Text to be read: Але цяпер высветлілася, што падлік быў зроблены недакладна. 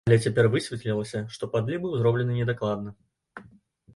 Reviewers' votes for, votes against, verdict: 1, 2, rejected